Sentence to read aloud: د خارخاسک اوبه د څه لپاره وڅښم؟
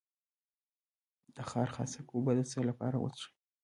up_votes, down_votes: 1, 2